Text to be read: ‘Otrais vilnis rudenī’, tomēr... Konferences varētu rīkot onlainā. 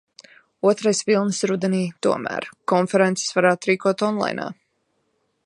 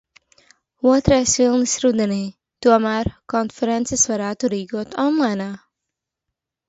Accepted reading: second